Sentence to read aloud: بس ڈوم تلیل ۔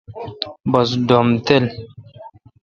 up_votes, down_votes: 0, 2